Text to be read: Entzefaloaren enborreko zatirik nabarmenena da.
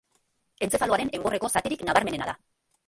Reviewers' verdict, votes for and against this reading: rejected, 0, 3